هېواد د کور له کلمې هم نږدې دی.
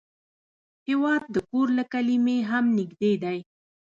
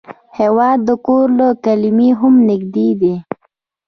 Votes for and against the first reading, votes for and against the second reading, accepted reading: 0, 2, 2, 0, second